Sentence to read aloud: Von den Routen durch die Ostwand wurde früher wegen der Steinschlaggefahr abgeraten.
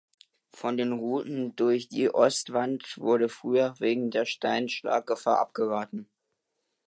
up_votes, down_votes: 2, 0